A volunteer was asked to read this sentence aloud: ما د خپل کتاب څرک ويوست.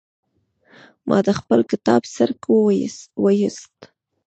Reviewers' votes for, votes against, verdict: 1, 2, rejected